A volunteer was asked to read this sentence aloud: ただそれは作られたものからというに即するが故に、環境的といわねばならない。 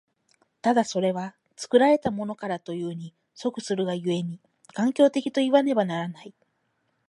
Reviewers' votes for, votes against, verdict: 4, 0, accepted